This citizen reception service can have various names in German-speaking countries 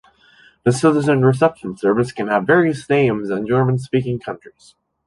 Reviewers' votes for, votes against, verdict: 2, 0, accepted